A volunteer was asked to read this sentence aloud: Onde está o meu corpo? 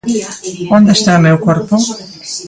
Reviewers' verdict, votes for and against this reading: accepted, 2, 0